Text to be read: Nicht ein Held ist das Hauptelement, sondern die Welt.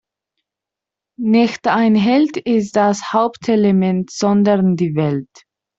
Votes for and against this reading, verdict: 2, 1, accepted